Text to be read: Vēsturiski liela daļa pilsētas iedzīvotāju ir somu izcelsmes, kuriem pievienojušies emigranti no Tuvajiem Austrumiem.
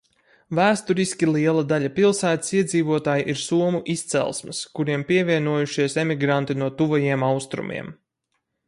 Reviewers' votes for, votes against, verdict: 4, 0, accepted